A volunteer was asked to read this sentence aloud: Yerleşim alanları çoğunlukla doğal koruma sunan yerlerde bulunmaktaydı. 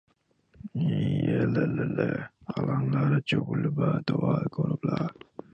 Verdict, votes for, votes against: rejected, 0, 2